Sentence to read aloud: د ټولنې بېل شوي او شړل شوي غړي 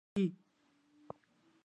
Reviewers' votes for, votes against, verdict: 1, 2, rejected